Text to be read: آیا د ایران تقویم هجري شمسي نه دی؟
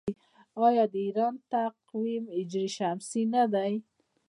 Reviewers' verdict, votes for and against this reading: rejected, 1, 2